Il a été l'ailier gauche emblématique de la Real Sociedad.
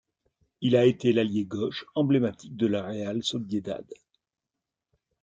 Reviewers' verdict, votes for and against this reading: rejected, 1, 2